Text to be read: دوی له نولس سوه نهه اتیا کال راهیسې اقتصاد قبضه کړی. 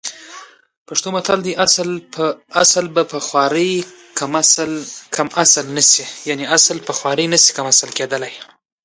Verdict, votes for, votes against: accepted, 2, 1